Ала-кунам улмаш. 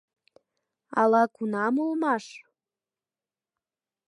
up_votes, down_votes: 2, 0